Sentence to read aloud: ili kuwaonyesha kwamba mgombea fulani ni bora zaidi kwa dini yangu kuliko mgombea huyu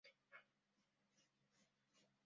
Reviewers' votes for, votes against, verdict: 0, 2, rejected